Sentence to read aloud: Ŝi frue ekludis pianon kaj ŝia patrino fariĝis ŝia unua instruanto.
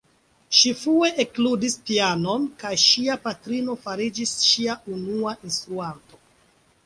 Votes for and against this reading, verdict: 2, 1, accepted